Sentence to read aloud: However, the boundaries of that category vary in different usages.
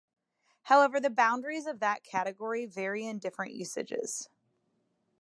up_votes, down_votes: 2, 0